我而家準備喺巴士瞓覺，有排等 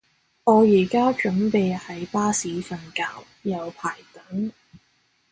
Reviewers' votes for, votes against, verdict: 2, 0, accepted